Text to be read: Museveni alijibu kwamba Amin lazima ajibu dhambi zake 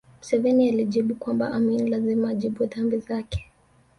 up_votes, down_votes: 1, 2